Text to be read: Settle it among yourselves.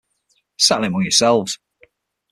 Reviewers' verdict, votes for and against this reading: rejected, 0, 6